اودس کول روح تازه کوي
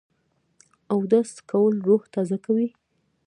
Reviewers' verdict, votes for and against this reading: rejected, 0, 2